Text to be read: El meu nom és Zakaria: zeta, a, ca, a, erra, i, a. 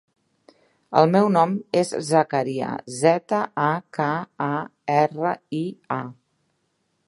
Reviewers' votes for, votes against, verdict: 2, 0, accepted